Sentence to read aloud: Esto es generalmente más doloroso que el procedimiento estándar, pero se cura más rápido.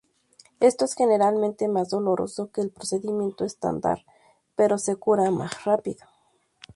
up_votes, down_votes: 2, 0